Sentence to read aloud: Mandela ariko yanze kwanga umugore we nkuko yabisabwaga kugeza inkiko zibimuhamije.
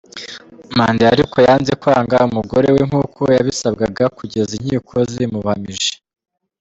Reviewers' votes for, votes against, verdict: 2, 0, accepted